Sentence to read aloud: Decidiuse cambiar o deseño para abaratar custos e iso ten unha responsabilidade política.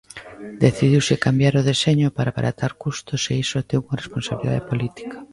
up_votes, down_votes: 0, 2